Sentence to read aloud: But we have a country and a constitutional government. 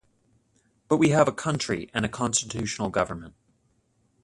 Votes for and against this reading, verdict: 0, 2, rejected